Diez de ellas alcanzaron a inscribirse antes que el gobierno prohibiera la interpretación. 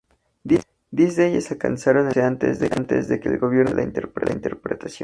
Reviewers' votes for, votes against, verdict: 0, 2, rejected